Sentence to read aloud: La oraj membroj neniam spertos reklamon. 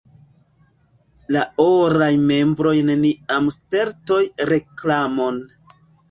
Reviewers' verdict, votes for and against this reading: rejected, 0, 2